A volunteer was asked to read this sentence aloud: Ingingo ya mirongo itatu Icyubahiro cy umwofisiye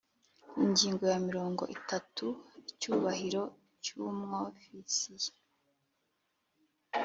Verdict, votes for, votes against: accepted, 3, 0